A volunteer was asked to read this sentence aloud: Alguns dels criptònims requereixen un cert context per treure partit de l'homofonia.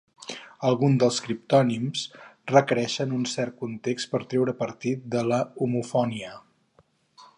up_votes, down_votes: 2, 4